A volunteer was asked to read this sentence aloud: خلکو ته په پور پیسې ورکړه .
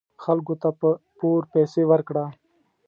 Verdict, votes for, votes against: accepted, 2, 0